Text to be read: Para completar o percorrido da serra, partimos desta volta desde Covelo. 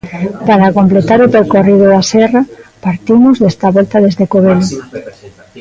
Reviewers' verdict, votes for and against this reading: rejected, 1, 2